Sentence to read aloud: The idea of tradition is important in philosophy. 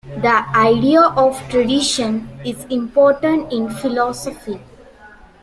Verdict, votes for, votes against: accepted, 2, 0